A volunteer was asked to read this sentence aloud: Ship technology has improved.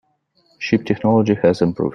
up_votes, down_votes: 1, 2